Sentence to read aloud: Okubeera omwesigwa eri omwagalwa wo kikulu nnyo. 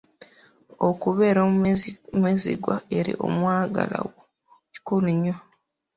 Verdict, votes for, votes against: rejected, 1, 2